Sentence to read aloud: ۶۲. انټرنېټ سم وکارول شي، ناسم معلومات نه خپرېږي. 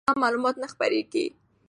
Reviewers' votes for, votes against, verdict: 0, 2, rejected